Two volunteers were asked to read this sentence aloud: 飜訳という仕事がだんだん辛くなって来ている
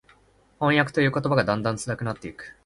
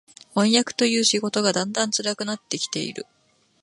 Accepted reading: second